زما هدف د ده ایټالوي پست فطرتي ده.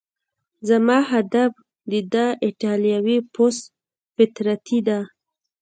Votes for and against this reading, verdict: 2, 0, accepted